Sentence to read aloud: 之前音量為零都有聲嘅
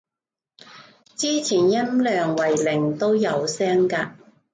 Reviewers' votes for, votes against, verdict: 1, 2, rejected